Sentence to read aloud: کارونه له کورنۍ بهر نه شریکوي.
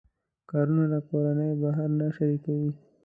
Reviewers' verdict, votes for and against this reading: accepted, 2, 0